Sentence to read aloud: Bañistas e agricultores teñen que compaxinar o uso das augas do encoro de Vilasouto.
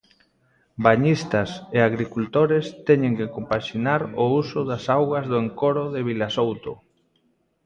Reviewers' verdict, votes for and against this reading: rejected, 1, 2